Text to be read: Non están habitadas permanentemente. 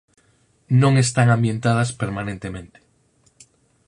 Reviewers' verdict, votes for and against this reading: rejected, 0, 4